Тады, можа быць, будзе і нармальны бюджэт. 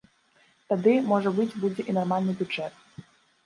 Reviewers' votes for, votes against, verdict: 2, 0, accepted